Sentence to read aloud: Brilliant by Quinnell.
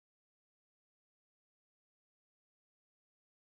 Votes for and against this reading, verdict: 0, 2, rejected